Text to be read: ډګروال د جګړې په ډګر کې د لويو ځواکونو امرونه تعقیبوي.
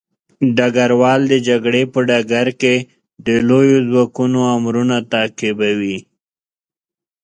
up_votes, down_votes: 2, 0